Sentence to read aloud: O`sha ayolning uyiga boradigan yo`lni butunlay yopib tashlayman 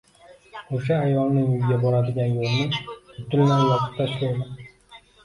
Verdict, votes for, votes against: accepted, 2, 0